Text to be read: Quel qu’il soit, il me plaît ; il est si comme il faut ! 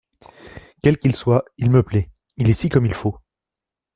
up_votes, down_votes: 2, 0